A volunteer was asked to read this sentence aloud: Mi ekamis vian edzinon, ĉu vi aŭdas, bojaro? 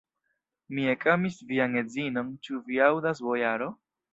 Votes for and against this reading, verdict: 0, 2, rejected